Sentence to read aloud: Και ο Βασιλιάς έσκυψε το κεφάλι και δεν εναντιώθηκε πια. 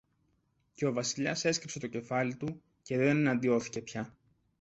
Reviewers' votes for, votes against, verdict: 0, 2, rejected